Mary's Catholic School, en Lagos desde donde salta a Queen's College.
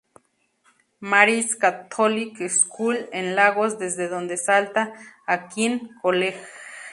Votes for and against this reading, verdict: 0, 4, rejected